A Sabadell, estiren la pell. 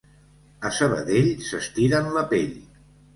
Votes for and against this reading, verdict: 1, 3, rejected